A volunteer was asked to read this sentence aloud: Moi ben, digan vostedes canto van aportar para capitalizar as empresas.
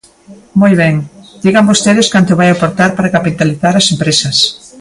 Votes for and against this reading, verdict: 1, 2, rejected